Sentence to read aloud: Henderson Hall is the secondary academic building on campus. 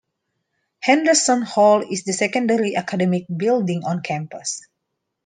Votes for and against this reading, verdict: 2, 0, accepted